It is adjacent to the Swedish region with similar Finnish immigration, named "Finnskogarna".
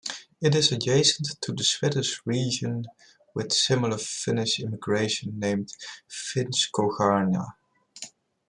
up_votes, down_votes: 2, 0